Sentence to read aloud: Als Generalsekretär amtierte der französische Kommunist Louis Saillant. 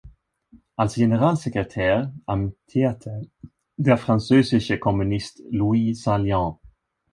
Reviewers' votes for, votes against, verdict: 2, 0, accepted